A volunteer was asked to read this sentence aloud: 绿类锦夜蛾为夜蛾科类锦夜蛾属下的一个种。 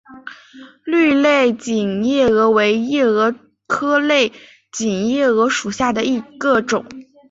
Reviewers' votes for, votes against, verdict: 2, 1, accepted